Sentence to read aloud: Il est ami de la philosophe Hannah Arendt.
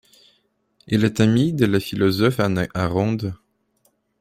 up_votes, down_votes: 2, 0